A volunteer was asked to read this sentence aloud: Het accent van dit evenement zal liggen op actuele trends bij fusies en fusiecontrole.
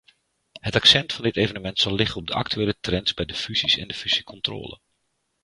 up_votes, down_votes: 2, 1